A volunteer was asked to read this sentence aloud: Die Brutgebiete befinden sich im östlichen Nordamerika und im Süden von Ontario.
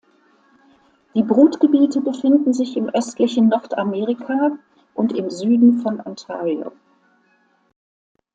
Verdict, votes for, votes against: accepted, 2, 0